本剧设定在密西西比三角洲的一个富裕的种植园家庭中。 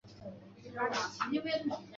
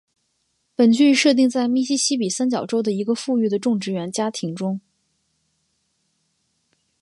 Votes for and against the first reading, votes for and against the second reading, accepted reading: 2, 3, 2, 0, second